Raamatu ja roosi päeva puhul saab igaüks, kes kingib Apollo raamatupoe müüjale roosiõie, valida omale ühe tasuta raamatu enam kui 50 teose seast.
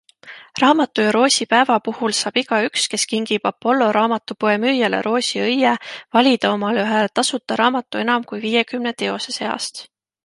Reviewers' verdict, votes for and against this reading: rejected, 0, 2